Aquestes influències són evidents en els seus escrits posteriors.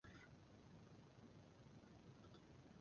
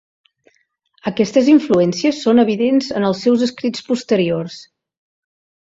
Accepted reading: second